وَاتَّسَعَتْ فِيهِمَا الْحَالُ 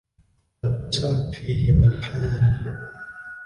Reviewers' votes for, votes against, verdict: 2, 1, accepted